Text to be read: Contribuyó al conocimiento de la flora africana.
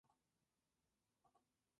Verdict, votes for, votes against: rejected, 0, 2